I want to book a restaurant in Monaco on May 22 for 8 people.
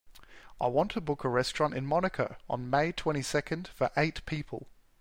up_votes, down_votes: 0, 2